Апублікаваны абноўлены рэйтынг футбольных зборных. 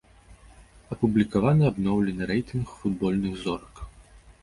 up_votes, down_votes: 0, 3